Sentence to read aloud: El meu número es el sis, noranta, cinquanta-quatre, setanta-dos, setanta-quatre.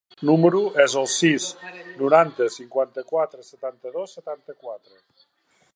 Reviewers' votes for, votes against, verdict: 1, 2, rejected